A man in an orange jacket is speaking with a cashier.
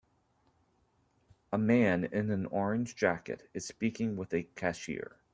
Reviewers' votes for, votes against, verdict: 2, 0, accepted